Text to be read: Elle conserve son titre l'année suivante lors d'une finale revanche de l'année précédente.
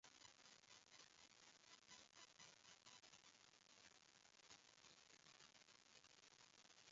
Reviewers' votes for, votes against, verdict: 0, 2, rejected